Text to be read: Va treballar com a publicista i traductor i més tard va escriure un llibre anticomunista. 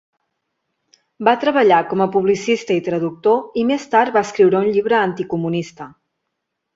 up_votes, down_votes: 2, 0